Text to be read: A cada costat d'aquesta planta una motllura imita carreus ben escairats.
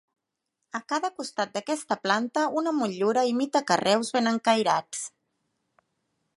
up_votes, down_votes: 1, 2